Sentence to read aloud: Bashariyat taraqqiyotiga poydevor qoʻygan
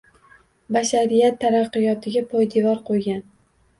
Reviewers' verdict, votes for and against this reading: accepted, 2, 0